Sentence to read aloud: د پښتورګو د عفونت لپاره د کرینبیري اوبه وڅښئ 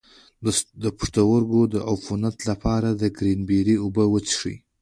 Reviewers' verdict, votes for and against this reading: accepted, 2, 0